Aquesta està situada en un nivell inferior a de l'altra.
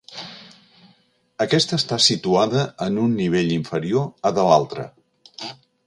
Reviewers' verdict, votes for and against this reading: accepted, 2, 0